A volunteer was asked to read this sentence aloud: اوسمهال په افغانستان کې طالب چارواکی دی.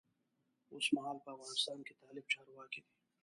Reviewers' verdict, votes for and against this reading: rejected, 0, 2